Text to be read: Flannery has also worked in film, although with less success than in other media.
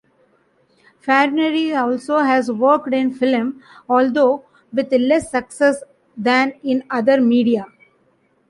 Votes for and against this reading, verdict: 1, 2, rejected